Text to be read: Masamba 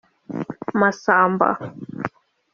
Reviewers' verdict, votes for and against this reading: accepted, 2, 0